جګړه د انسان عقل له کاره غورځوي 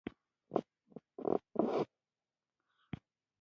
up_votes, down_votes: 0, 2